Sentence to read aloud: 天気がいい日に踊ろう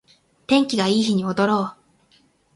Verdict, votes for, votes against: accepted, 8, 0